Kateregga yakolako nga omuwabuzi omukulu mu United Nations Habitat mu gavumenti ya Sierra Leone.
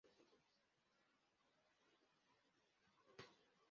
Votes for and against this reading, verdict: 1, 2, rejected